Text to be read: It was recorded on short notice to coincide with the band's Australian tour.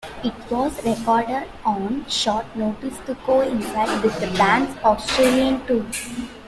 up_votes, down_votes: 0, 2